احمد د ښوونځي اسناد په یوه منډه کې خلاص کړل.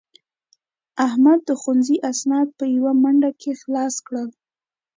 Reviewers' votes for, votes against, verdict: 2, 0, accepted